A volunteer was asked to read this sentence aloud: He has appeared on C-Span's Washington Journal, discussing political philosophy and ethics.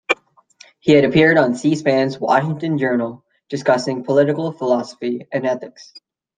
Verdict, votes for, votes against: rejected, 0, 3